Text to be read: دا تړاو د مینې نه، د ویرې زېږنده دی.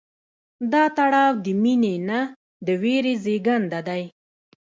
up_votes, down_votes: 0, 2